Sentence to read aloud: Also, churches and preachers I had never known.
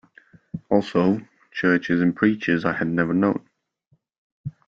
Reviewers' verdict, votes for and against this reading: accepted, 2, 0